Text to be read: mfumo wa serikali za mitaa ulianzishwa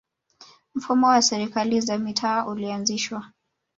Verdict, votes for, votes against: accepted, 2, 1